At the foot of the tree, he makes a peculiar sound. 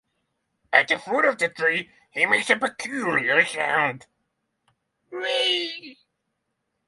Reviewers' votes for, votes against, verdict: 3, 6, rejected